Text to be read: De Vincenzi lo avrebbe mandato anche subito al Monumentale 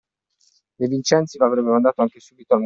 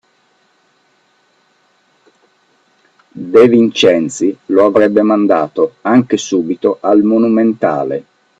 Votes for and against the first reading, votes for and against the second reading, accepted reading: 0, 2, 2, 0, second